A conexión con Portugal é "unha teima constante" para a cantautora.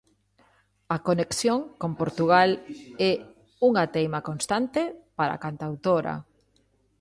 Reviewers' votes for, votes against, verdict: 2, 0, accepted